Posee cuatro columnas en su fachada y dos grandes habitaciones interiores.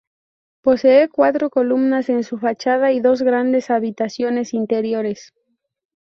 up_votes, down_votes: 0, 2